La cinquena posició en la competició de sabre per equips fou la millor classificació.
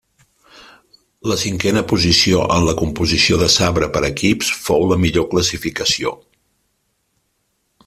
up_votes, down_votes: 0, 3